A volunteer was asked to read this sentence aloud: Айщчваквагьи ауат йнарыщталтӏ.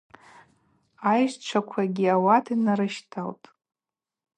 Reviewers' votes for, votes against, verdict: 4, 0, accepted